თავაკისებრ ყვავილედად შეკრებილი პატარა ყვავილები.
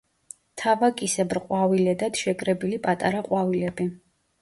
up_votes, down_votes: 2, 0